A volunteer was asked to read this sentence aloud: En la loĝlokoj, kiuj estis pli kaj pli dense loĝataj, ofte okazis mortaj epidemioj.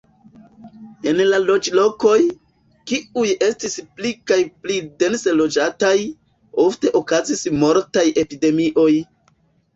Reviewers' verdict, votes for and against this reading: accepted, 2, 0